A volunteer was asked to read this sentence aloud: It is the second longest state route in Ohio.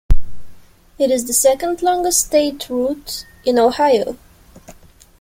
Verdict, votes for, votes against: accepted, 2, 0